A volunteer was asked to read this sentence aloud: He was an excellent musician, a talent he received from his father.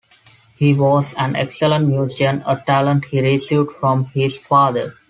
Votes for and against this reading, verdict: 0, 2, rejected